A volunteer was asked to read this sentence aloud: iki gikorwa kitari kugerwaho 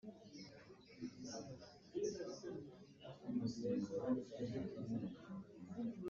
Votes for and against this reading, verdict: 0, 2, rejected